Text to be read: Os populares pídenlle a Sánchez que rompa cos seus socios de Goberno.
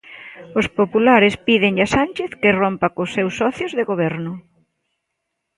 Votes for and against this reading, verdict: 2, 0, accepted